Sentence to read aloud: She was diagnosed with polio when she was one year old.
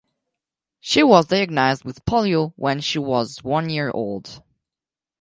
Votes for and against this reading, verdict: 4, 0, accepted